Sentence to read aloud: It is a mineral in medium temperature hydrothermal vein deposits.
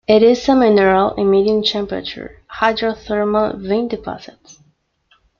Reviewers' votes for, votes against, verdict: 1, 2, rejected